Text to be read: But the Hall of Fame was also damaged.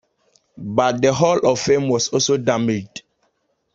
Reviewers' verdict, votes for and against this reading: accepted, 2, 0